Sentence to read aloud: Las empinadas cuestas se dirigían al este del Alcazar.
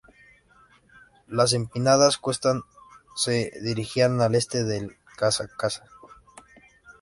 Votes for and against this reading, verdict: 0, 2, rejected